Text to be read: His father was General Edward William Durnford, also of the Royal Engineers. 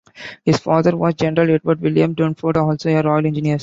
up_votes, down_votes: 0, 2